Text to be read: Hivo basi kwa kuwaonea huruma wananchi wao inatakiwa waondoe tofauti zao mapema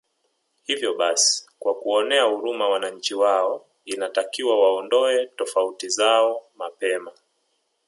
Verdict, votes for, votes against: accepted, 2, 1